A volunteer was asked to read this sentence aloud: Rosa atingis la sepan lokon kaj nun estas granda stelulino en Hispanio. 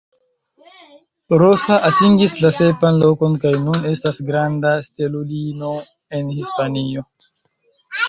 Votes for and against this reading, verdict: 2, 0, accepted